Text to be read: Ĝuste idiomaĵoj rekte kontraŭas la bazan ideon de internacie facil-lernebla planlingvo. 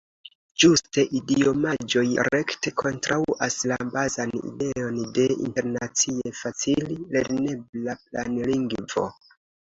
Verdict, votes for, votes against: rejected, 0, 2